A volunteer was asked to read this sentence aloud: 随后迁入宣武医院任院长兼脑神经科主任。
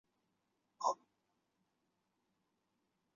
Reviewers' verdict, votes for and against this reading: rejected, 0, 2